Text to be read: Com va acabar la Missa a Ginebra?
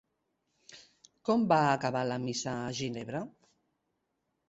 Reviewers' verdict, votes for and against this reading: accepted, 3, 0